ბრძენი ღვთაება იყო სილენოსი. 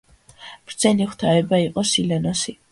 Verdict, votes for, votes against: accepted, 2, 0